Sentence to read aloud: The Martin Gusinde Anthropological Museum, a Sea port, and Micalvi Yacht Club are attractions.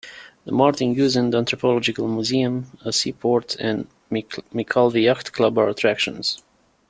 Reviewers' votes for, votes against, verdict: 0, 2, rejected